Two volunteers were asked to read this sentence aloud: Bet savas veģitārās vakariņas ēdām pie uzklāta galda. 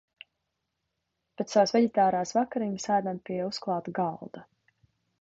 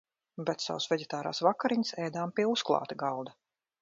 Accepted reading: first